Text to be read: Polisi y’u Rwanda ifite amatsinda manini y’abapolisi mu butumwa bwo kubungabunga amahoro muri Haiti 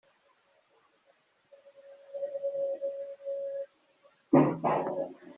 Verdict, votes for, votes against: rejected, 0, 2